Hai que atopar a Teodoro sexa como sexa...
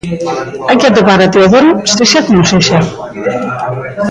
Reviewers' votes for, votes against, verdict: 0, 2, rejected